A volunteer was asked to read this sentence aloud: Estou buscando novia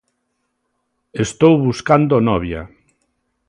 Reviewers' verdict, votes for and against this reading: accepted, 2, 0